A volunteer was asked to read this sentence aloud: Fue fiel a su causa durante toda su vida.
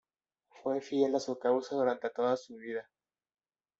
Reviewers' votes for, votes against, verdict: 2, 1, accepted